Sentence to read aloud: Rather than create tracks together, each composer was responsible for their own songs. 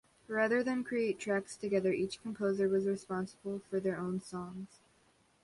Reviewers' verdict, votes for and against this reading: accepted, 2, 1